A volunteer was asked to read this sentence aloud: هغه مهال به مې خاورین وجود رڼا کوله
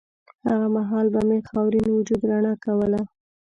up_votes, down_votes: 2, 0